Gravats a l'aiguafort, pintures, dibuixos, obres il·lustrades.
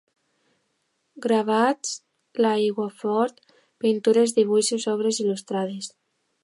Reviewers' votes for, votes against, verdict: 0, 2, rejected